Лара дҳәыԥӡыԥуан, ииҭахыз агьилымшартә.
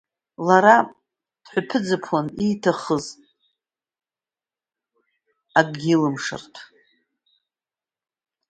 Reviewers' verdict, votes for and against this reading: rejected, 0, 2